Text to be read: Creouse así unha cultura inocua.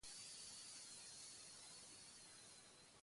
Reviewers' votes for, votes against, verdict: 0, 2, rejected